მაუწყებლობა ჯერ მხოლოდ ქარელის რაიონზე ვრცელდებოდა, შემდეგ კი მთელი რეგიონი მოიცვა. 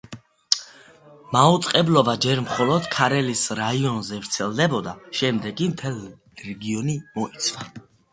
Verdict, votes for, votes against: rejected, 0, 2